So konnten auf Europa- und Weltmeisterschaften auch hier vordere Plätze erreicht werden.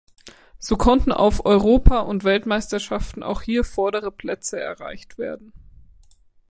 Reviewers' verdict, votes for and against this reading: accepted, 2, 1